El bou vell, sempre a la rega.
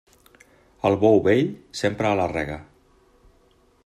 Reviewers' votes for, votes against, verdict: 2, 1, accepted